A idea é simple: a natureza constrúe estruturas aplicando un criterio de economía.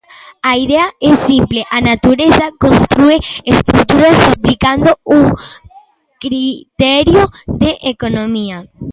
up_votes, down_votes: 1, 2